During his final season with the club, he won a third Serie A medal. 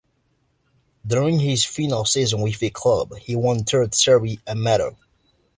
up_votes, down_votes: 1, 2